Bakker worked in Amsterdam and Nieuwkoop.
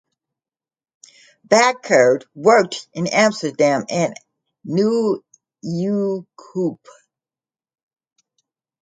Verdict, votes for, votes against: rejected, 0, 2